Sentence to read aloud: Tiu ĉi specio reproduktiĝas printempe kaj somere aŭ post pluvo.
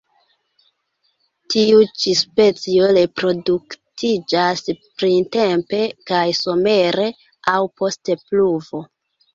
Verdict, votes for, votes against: rejected, 0, 2